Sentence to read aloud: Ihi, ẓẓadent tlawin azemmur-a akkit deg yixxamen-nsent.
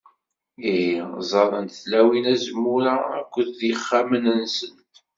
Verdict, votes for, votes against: rejected, 0, 2